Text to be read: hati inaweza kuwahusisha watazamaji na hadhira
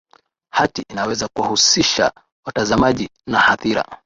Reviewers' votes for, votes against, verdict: 36, 3, accepted